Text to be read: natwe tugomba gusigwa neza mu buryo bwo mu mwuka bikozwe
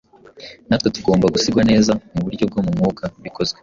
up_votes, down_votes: 2, 0